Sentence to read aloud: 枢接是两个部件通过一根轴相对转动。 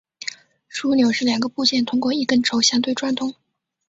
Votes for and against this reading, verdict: 1, 2, rejected